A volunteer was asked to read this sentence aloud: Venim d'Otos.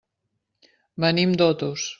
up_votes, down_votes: 3, 0